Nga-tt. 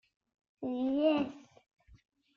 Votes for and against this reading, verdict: 0, 2, rejected